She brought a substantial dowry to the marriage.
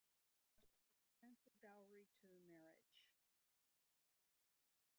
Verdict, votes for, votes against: rejected, 1, 2